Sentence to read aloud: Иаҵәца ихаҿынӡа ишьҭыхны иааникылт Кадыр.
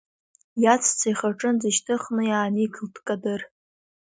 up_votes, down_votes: 2, 0